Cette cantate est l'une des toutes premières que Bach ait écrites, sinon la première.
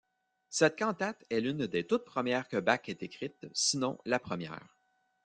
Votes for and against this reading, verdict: 1, 2, rejected